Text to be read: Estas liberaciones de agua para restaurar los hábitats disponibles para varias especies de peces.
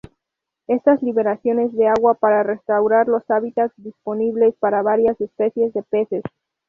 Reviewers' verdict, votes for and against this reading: accepted, 2, 0